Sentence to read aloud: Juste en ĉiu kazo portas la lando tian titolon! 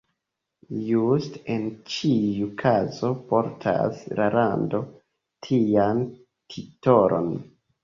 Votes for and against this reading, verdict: 2, 0, accepted